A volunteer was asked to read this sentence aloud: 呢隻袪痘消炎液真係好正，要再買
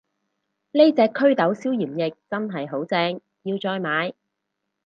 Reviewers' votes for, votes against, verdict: 2, 4, rejected